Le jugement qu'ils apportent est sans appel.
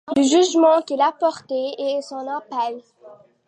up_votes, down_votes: 2, 1